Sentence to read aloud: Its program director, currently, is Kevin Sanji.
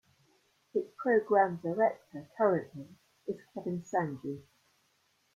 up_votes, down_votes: 0, 2